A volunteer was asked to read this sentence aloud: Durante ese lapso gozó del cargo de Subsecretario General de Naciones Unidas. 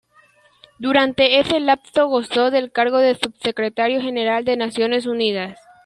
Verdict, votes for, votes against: accepted, 2, 1